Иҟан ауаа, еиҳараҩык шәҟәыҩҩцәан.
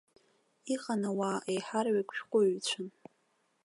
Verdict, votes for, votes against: accepted, 2, 0